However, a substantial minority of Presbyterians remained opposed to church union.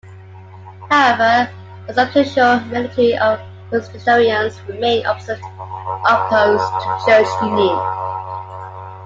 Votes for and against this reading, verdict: 0, 2, rejected